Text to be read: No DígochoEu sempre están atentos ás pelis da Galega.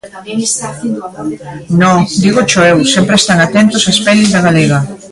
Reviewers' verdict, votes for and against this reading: rejected, 0, 2